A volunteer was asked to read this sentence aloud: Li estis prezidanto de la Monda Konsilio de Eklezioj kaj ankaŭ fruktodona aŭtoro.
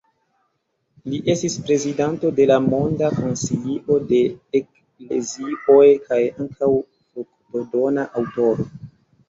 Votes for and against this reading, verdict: 2, 0, accepted